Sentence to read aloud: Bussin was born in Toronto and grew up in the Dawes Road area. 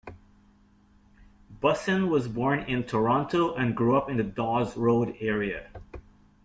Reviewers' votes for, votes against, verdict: 2, 0, accepted